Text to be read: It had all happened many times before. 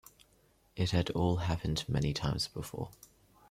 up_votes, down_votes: 2, 0